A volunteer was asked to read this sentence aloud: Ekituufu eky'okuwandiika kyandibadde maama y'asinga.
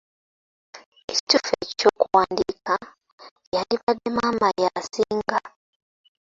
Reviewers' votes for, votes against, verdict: 2, 1, accepted